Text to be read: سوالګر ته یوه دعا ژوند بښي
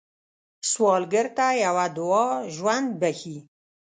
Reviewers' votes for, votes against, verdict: 2, 0, accepted